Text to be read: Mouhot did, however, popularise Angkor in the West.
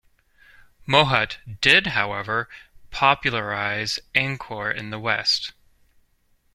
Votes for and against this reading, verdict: 2, 0, accepted